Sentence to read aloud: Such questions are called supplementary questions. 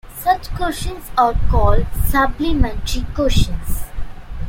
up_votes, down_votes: 0, 2